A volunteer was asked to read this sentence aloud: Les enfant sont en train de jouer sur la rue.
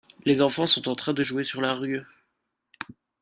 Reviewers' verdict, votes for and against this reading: accepted, 2, 0